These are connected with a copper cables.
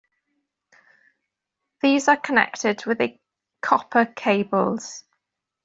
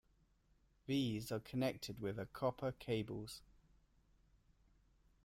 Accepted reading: first